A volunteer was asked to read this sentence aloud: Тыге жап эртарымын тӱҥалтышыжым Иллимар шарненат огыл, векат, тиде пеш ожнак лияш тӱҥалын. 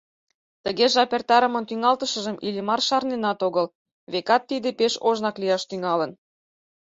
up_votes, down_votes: 4, 0